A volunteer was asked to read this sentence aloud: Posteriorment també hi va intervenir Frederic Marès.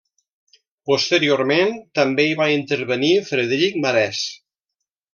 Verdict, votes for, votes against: accepted, 2, 0